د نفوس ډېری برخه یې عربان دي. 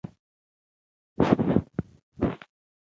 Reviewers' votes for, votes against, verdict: 1, 2, rejected